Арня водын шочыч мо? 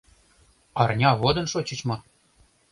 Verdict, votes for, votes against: accepted, 2, 0